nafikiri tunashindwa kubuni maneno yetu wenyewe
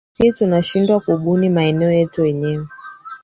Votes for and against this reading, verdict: 2, 3, rejected